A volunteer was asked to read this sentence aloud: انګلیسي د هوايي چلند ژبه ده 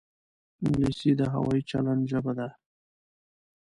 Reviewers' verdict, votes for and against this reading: accepted, 2, 0